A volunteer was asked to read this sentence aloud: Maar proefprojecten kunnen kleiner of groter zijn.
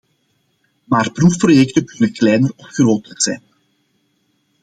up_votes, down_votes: 2, 0